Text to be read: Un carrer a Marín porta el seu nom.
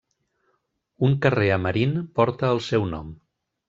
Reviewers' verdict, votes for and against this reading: accepted, 2, 0